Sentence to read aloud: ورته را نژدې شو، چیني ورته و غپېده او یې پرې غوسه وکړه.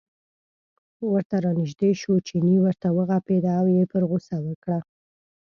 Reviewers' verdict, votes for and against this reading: rejected, 1, 2